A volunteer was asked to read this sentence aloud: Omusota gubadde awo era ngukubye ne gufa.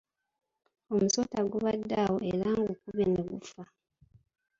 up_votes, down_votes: 1, 2